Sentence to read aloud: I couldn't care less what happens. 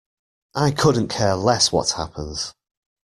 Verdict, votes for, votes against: rejected, 1, 2